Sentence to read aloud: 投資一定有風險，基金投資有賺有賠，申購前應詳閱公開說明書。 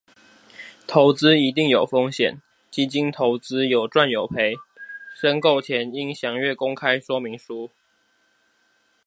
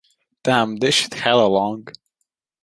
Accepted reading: first